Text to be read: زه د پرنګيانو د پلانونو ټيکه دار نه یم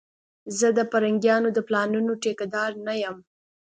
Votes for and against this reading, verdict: 2, 0, accepted